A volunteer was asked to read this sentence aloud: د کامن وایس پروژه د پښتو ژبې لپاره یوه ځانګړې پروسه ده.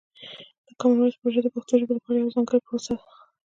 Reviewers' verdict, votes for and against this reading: rejected, 0, 2